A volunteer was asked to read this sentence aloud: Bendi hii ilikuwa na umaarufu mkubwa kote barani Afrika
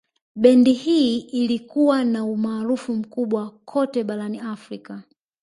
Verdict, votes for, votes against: rejected, 1, 2